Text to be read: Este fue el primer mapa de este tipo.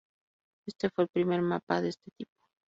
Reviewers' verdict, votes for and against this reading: accepted, 2, 0